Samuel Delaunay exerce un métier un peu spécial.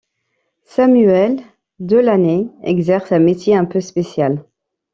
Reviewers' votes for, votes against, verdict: 1, 2, rejected